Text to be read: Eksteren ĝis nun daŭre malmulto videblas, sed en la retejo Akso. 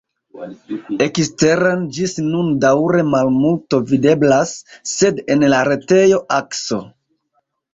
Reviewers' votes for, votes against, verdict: 0, 2, rejected